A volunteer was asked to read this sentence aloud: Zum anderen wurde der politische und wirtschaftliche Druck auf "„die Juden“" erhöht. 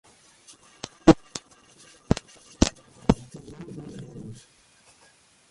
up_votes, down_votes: 0, 2